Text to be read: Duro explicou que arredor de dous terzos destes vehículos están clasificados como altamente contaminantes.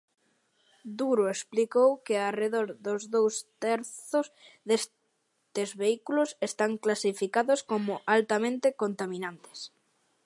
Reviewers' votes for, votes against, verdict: 0, 2, rejected